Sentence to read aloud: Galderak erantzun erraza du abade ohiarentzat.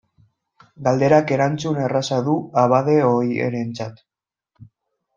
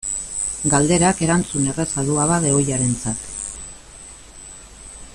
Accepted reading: second